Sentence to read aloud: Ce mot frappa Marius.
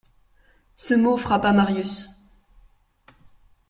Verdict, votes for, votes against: accepted, 2, 0